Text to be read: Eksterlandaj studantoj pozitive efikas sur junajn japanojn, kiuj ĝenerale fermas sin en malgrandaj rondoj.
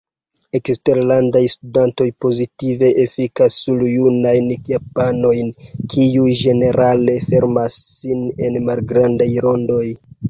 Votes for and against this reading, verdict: 1, 2, rejected